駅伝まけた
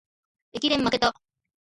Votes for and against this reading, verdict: 1, 2, rejected